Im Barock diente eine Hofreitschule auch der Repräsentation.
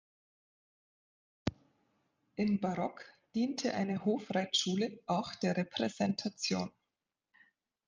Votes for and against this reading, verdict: 2, 0, accepted